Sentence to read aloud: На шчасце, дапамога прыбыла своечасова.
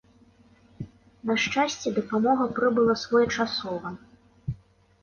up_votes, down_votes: 2, 0